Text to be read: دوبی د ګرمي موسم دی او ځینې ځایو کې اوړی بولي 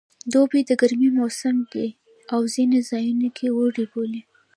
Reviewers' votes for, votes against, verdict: 0, 2, rejected